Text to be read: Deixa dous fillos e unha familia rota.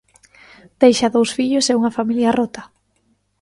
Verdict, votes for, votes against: accepted, 2, 0